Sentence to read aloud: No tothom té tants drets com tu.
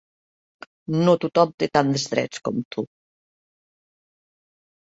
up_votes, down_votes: 2, 0